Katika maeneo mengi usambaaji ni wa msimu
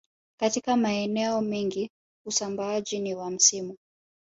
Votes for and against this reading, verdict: 2, 1, accepted